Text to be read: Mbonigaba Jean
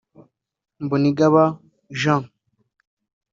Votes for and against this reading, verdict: 2, 0, accepted